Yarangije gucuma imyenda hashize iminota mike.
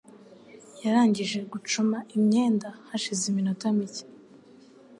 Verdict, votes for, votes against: accepted, 2, 0